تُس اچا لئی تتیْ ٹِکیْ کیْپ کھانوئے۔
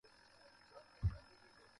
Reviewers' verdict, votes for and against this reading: rejected, 0, 2